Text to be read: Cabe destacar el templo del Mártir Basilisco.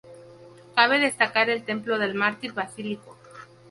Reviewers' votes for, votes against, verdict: 2, 0, accepted